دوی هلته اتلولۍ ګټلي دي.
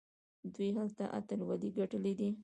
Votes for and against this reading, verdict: 2, 0, accepted